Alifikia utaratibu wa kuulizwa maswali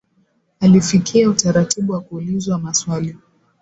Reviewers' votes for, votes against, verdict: 2, 0, accepted